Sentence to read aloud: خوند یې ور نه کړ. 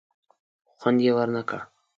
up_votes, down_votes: 2, 0